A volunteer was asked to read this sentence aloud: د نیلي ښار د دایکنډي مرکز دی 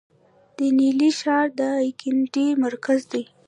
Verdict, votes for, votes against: rejected, 1, 2